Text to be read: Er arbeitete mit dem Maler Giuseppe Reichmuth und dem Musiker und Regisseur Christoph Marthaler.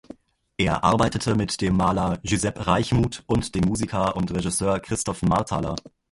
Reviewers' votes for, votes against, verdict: 1, 2, rejected